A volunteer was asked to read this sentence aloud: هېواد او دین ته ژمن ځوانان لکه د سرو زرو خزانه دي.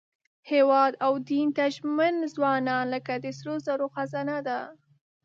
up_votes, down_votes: 0, 4